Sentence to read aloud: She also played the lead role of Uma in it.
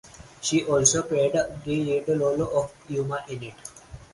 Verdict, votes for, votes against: rejected, 2, 2